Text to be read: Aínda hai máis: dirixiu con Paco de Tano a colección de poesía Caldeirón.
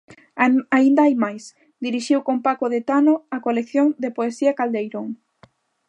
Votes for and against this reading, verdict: 0, 2, rejected